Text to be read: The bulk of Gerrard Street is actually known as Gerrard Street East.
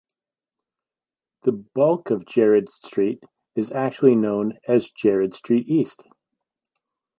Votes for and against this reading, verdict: 1, 2, rejected